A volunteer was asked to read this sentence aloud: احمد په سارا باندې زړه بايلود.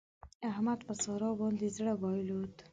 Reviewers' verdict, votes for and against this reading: rejected, 1, 2